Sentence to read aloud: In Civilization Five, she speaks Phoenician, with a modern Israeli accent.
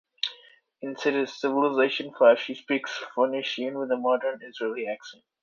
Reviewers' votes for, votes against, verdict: 0, 2, rejected